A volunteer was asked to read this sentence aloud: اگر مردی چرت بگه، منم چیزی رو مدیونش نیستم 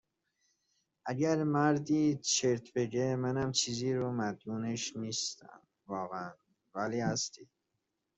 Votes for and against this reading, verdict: 0, 2, rejected